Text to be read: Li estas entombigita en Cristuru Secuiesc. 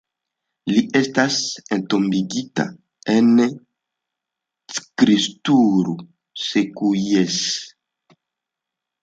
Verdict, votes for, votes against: rejected, 1, 2